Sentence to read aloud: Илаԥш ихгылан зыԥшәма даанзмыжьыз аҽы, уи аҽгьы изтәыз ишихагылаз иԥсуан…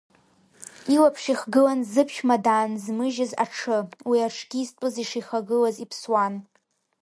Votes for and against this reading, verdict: 2, 1, accepted